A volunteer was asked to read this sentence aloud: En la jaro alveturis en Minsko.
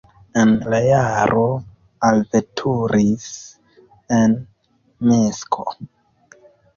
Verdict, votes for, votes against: rejected, 0, 2